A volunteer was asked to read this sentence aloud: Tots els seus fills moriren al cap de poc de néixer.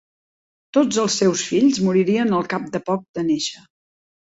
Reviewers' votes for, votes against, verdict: 1, 2, rejected